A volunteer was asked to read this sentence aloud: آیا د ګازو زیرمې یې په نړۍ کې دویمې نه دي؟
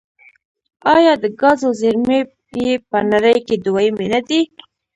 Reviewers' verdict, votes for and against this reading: rejected, 1, 2